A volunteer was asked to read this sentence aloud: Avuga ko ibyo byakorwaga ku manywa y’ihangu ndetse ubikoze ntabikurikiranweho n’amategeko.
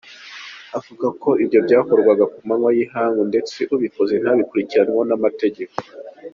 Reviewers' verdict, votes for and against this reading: accepted, 2, 0